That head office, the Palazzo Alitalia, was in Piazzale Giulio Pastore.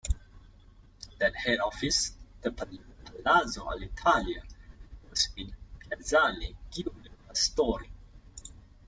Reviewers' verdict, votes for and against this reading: rejected, 0, 2